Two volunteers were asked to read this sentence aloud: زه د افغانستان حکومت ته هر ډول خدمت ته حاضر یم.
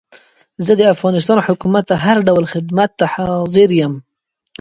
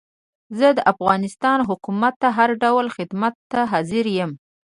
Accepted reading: first